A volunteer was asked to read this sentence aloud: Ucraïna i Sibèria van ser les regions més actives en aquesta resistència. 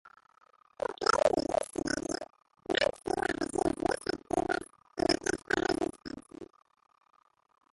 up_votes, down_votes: 0, 2